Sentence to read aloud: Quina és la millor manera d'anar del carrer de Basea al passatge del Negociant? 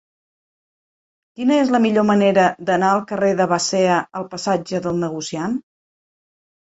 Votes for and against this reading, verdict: 1, 2, rejected